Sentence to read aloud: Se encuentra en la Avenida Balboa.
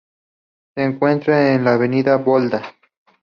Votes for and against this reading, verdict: 0, 2, rejected